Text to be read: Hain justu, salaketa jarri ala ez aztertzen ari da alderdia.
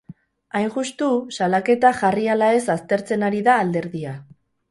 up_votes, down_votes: 0, 2